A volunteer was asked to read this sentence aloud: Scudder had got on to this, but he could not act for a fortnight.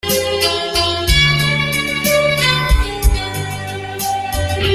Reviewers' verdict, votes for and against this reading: rejected, 0, 2